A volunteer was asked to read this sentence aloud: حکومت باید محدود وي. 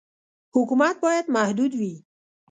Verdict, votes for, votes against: accepted, 2, 0